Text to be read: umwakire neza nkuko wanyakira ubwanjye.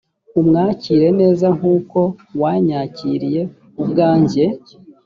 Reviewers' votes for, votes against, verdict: 1, 2, rejected